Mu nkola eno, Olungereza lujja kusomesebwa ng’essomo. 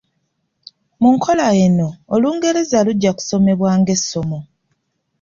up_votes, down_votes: 1, 2